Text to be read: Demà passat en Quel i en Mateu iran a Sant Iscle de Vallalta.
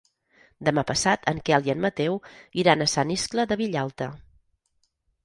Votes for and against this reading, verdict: 2, 4, rejected